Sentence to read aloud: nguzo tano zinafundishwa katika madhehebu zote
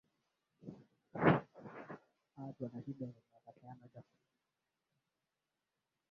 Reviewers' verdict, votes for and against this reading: rejected, 0, 2